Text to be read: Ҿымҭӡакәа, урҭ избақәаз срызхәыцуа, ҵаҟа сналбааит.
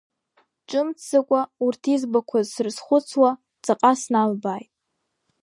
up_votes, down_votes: 2, 0